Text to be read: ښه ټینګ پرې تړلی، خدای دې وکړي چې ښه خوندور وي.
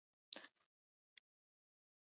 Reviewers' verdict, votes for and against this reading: rejected, 1, 2